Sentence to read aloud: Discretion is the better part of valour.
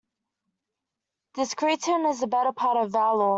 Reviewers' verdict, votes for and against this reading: rejected, 0, 2